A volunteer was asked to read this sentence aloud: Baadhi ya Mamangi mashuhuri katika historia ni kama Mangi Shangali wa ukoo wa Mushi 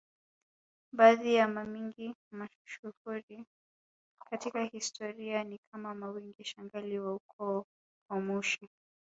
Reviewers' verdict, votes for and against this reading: rejected, 0, 3